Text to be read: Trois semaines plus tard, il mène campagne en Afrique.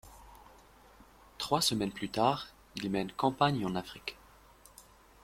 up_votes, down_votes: 2, 0